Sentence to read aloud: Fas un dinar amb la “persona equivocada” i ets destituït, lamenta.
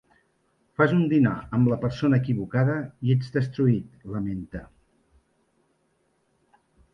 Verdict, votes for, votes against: rejected, 0, 2